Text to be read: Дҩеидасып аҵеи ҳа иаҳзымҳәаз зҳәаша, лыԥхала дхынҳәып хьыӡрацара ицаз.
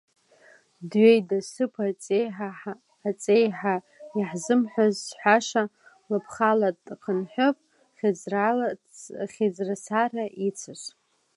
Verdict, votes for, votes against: rejected, 0, 2